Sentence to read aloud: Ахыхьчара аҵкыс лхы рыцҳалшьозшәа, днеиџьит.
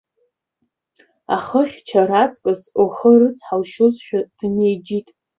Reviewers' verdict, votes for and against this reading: rejected, 0, 2